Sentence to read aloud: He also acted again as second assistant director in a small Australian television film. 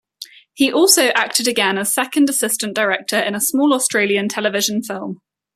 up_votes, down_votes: 2, 0